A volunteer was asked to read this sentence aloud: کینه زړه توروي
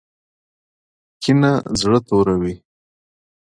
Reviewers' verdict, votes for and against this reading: accepted, 2, 0